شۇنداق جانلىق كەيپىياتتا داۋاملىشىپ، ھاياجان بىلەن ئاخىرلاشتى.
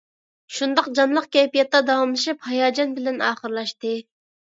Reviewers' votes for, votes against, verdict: 2, 0, accepted